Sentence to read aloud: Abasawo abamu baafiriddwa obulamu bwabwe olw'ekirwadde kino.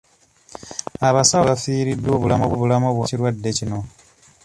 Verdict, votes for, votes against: rejected, 1, 2